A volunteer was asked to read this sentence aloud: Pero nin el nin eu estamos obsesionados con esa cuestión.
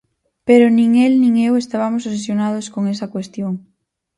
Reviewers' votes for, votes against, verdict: 0, 4, rejected